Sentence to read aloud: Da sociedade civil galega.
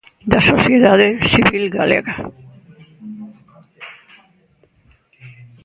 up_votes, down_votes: 1, 2